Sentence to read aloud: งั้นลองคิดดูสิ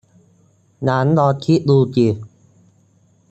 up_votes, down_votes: 0, 2